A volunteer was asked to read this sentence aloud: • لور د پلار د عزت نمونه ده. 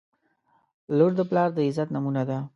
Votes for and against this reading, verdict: 2, 0, accepted